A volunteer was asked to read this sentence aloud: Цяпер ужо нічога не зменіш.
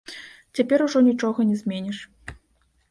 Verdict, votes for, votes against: rejected, 0, 2